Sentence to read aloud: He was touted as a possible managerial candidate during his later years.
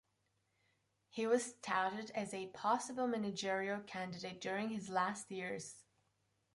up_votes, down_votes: 0, 2